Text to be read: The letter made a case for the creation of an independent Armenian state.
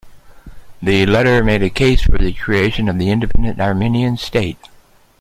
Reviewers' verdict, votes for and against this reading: accepted, 2, 0